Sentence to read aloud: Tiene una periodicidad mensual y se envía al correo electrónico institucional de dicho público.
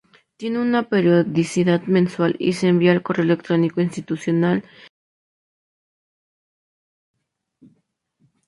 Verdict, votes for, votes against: rejected, 0, 2